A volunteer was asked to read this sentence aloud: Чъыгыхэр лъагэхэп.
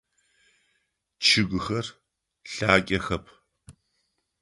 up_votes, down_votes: 2, 0